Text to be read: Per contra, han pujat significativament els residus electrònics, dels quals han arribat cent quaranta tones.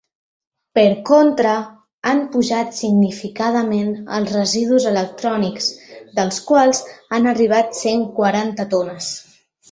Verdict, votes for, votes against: rejected, 0, 2